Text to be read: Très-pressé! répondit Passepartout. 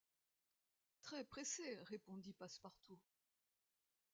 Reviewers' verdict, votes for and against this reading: accepted, 2, 0